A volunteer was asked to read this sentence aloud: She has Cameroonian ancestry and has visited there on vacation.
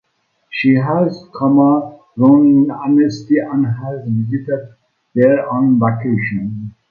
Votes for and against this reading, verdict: 0, 2, rejected